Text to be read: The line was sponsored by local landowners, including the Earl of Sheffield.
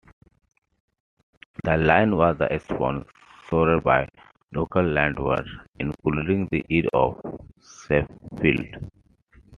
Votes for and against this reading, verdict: 0, 2, rejected